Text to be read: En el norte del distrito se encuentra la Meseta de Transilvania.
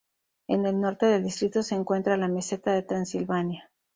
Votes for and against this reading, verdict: 2, 0, accepted